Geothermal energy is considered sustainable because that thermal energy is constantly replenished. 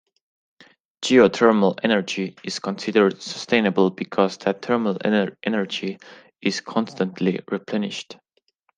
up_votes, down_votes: 0, 2